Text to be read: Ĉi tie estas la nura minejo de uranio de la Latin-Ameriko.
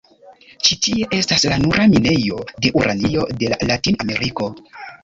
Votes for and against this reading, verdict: 0, 2, rejected